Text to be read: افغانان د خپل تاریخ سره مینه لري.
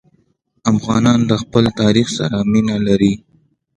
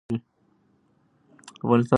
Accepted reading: first